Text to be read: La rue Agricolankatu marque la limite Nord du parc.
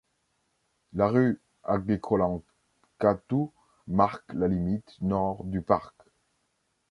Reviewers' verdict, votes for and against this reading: rejected, 0, 2